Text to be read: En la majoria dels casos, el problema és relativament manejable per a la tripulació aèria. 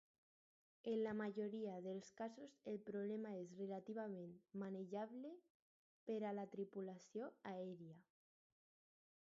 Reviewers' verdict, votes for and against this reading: rejected, 2, 4